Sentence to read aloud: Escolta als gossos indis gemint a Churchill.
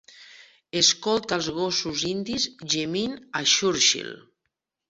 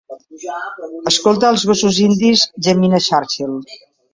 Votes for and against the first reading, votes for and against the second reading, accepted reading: 2, 0, 1, 2, first